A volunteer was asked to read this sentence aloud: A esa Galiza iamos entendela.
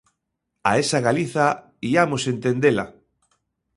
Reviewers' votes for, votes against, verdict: 2, 0, accepted